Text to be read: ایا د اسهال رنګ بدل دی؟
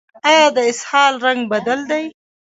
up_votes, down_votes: 1, 2